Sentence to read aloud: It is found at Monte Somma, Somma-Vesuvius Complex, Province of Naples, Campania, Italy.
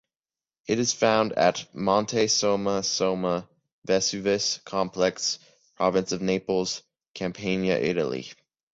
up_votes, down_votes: 2, 0